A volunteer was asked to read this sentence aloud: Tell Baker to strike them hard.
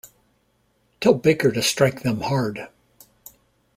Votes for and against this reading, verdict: 2, 0, accepted